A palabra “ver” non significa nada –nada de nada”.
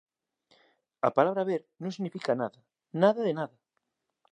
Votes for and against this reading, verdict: 1, 2, rejected